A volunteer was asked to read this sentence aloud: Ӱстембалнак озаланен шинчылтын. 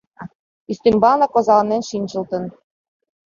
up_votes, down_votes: 2, 0